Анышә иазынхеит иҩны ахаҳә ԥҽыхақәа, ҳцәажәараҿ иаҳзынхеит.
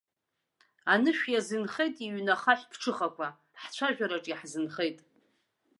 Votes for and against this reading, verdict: 3, 0, accepted